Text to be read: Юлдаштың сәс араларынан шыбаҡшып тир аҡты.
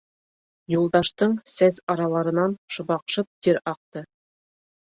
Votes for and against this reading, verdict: 3, 0, accepted